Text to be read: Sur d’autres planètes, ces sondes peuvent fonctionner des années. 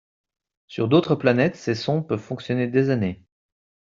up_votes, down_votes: 2, 0